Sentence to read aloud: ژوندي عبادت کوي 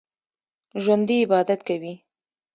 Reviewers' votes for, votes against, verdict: 2, 0, accepted